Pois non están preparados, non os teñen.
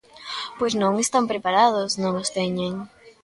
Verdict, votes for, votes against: rejected, 0, 2